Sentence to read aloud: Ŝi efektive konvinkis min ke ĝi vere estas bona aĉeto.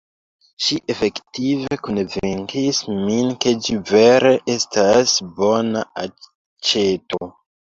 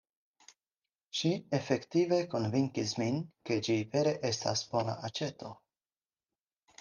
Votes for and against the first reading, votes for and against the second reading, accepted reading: 1, 2, 4, 0, second